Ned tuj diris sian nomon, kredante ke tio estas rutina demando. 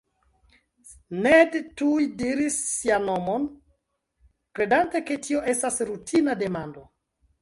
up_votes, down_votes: 2, 0